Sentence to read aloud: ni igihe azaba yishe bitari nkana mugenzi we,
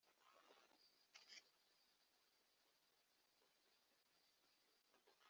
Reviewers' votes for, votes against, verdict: 1, 2, rejected